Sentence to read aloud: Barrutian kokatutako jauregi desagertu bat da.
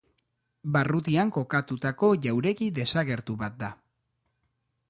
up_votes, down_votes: 2, 0